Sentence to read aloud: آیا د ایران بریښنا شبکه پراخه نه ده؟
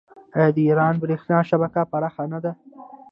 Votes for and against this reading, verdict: 0, 2, rejected